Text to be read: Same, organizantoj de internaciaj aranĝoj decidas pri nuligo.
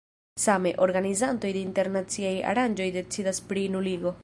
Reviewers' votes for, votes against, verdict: 0, 2, rejected